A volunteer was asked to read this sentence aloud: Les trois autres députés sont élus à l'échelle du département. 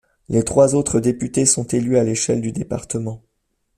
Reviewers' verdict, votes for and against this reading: accepted, 2, 0